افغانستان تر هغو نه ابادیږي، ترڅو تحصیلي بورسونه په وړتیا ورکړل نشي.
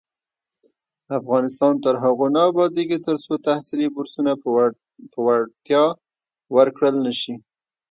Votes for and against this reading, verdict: 0, 2, rejected